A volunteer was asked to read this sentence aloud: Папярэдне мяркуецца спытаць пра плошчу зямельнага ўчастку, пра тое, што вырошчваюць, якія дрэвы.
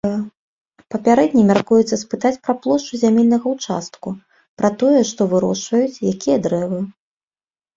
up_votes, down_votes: 1, 2